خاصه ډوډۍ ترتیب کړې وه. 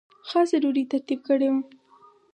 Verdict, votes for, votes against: accepted, 4, 2